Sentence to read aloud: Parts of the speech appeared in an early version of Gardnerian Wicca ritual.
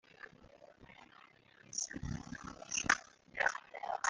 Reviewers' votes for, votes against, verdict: 1, 2, rejected